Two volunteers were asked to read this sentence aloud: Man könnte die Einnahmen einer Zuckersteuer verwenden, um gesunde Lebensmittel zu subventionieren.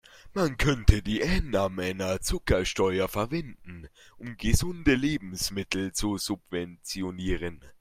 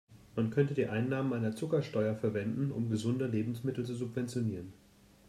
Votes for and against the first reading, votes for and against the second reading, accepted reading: 1, 2, 3, 0, second